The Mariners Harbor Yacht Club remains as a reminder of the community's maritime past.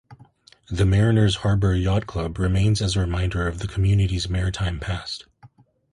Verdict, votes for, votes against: accepted, 2, 0